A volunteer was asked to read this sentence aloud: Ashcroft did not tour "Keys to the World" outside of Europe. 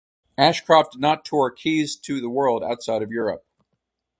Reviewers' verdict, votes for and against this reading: accepted, 4, 0